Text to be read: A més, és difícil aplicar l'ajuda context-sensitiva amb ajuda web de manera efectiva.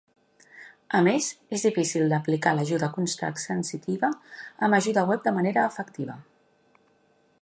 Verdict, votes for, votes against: rejected, 1, 2